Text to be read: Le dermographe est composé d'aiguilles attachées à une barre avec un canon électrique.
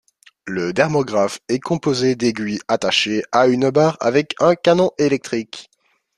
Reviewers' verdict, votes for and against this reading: accepted, 2, 0